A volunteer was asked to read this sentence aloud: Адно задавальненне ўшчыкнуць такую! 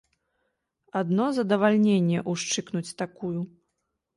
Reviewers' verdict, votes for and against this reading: accepted, 2, 0